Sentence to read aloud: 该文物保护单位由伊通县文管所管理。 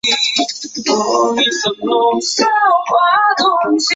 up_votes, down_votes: 1, 7